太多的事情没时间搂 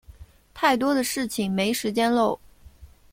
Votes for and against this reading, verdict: 1, 2, rejected